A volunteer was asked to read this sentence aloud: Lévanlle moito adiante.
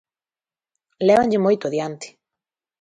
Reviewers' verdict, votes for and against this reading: accepted, 2, 0